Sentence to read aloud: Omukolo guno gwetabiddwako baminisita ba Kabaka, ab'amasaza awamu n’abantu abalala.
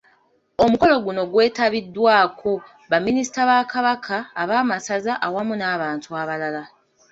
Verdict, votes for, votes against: accepted, 2, 0